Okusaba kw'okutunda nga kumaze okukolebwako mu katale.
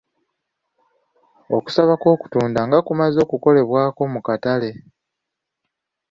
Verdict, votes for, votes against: accepted, 2, 0